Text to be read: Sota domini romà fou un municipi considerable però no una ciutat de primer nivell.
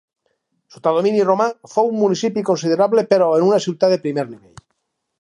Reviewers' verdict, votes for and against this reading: rejected, 0, 4